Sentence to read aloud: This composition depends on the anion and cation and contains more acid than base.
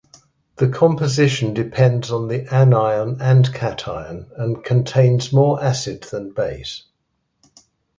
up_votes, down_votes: 2, 0